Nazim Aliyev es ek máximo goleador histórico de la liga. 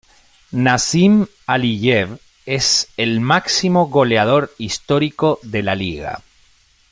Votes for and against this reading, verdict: 2, 0, accepted